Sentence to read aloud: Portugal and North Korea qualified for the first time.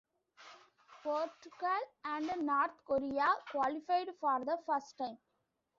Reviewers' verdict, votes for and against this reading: accepted, 2, 0